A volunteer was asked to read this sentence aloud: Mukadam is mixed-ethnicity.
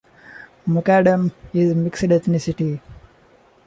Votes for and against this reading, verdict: 2, 1, accepted